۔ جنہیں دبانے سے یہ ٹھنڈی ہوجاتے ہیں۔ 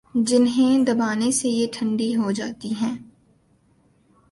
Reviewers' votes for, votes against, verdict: 0, 2, rejected